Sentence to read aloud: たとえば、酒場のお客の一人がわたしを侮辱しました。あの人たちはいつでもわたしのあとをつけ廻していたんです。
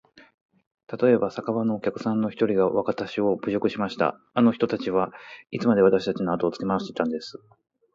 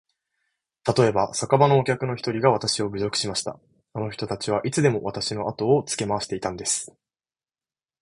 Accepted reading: second